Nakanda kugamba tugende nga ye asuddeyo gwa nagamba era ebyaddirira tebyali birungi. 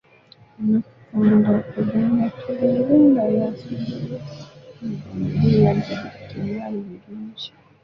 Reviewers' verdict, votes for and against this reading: rejected, 0, 2